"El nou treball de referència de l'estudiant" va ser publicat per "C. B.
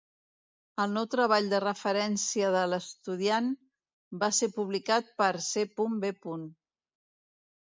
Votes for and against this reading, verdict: 1, 2, rejected